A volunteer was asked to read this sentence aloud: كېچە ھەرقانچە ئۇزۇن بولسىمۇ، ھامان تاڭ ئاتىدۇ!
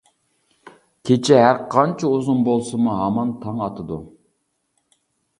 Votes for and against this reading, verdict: 2, 0, accepted